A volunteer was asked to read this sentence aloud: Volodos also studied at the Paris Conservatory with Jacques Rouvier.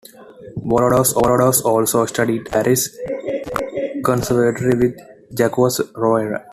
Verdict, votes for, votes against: rejected, 0, 2